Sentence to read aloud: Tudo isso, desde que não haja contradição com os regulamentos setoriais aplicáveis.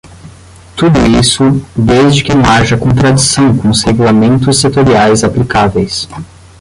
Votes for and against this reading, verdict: 5, 10, rejected